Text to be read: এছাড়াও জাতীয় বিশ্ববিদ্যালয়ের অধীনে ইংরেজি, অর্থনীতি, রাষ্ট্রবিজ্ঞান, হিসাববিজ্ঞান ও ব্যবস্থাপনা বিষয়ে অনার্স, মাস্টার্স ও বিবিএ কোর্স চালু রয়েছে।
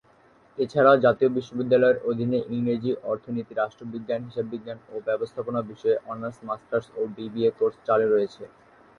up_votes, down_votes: 2, 0